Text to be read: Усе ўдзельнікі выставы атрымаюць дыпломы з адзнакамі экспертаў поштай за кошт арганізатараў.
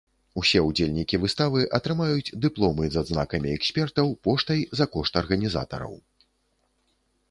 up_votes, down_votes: 2, 0